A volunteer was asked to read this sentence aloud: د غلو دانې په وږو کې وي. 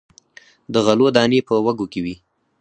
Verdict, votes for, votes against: rejected, 2, 4